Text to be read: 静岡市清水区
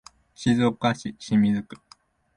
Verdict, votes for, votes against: accepted, 2, 0